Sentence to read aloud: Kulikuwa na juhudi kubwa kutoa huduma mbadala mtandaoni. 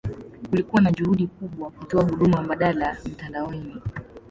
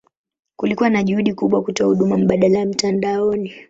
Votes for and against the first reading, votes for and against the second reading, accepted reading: 2, 0, 2, 2, first